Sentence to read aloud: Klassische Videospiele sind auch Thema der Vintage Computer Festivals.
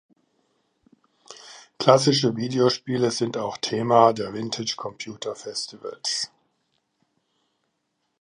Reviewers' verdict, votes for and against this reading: accepted, 2, 0